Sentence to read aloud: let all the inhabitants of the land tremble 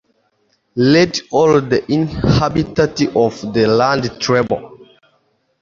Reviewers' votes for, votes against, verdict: 1, 2, rejected